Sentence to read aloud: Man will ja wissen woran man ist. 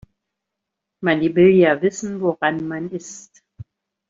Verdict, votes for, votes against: rejected, 1, 2